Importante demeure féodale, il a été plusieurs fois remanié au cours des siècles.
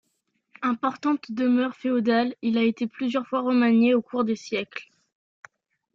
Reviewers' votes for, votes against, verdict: 2, 0, accepted